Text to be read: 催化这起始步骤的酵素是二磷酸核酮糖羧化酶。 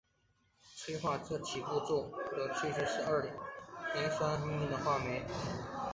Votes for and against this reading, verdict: 2, 0, accepted